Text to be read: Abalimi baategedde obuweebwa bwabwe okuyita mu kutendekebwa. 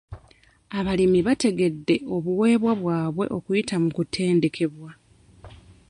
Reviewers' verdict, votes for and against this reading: rejected, 0, 2